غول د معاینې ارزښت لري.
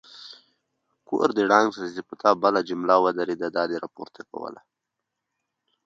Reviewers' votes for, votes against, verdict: 2, 0, accepted